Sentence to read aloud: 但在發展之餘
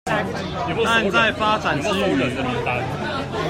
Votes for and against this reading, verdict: 1, 2, rejected